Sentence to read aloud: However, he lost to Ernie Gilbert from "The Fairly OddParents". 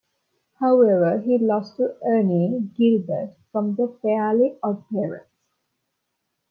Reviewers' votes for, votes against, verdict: 1, 2, rejected